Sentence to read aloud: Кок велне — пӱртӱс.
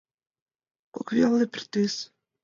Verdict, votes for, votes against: accepted, 3, 0